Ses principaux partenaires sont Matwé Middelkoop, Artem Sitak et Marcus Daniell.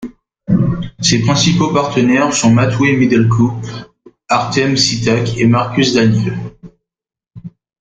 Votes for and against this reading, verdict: 2, 0, accepted